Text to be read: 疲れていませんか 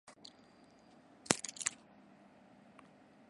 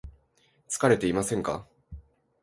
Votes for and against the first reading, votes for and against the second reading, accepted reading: 0, 2, 2, 0, second